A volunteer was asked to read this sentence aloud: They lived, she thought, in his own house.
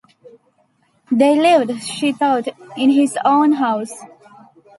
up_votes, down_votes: 2, 0